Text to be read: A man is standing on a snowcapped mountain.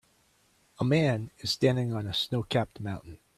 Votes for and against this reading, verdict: 2, 0, accepted